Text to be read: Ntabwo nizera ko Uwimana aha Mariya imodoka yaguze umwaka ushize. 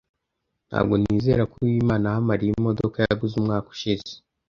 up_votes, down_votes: 2, 0